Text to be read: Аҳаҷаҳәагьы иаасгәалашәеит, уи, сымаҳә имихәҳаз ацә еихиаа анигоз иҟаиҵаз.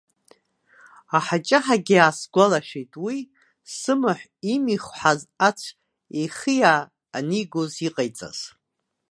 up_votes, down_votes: 1, 2